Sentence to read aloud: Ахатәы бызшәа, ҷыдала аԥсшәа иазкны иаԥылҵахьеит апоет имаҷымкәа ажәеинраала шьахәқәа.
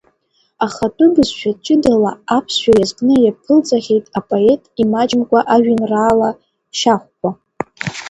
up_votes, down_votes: 1, 2